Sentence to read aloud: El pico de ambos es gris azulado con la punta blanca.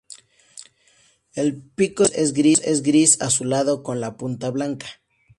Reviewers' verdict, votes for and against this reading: rejected, 0, 2